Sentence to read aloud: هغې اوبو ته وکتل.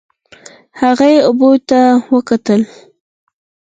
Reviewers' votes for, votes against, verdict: 4, 0, accepted